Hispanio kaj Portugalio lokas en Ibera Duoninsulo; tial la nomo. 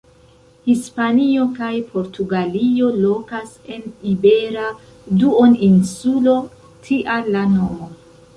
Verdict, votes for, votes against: rejected, 0, 2